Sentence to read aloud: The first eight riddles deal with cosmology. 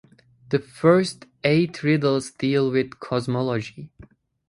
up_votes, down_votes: 2, 0